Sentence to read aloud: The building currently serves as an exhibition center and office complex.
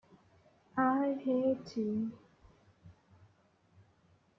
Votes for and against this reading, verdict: 1, 2, rejected